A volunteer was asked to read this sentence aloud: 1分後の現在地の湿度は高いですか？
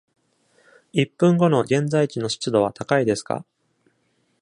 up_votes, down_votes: 0, 2